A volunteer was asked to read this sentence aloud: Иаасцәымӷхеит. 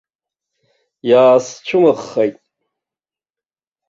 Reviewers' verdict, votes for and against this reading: accepted, 2, 0